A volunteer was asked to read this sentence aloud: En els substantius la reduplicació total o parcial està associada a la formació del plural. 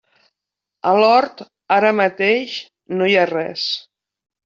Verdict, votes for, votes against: rejected, 0, 2